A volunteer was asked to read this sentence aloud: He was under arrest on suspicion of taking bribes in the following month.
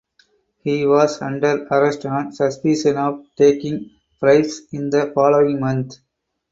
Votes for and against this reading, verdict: 4, 2, accepted